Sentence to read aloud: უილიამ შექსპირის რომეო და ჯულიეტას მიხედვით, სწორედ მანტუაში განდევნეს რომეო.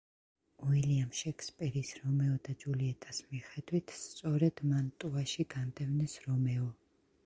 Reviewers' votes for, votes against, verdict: 1, 2, rejected